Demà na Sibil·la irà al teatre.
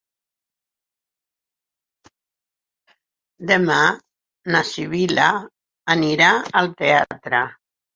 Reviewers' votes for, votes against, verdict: 4, 0, accepted